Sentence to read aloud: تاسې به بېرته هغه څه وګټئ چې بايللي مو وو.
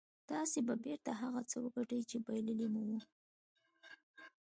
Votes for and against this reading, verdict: 3, 0, accepted